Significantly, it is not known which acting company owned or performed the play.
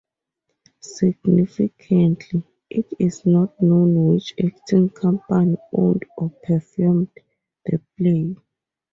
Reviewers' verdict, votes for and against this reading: accepted, 4, 0